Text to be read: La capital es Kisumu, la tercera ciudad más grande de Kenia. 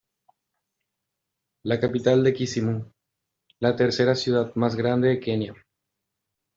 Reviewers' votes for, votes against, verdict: 0, 2, rejected